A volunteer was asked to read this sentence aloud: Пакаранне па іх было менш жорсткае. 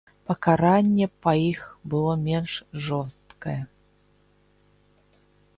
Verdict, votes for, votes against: accepted, 2, 0